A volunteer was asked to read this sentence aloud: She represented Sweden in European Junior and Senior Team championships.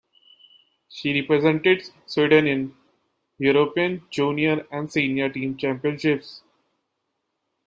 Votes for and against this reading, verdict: 2, 0, accepted